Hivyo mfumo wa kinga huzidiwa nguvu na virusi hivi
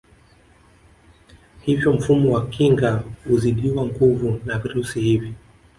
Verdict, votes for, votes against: rejected, 1, 2